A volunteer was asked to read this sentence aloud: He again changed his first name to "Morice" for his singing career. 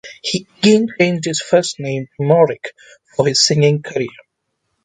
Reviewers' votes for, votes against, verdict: 0, 2, rejected